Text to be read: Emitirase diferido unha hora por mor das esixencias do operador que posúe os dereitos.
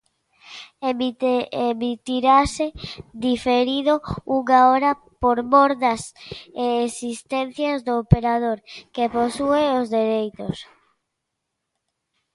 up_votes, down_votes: 0, 2